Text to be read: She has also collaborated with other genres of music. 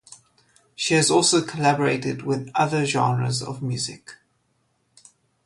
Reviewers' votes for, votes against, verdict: 2, 0, accepted